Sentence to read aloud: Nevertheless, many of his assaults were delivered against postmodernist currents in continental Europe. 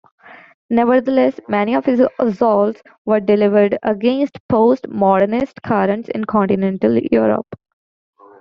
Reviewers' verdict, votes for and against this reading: rejected, 1, 2